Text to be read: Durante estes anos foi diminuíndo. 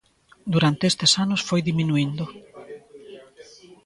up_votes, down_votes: 1, 2